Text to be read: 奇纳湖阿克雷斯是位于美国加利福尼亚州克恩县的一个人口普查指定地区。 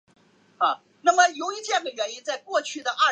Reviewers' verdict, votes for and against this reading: rejected, 0, 3